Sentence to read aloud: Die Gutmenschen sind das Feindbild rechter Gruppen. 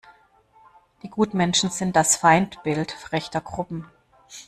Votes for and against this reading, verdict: 1, 2, rejected